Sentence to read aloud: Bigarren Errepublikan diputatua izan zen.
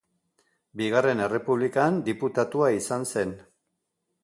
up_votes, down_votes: 2, 0